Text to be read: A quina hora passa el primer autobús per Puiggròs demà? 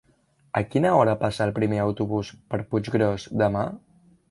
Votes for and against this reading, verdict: 3, 0, accepted